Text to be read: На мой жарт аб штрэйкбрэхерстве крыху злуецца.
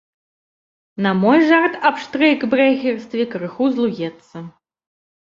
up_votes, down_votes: 2, 1